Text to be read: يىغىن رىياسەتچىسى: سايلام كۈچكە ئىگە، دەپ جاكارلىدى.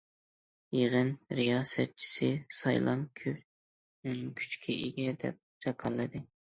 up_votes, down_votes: 0, 2